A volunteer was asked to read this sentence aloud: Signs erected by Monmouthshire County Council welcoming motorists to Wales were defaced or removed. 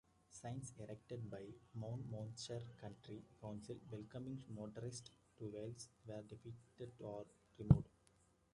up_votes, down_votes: 2, 1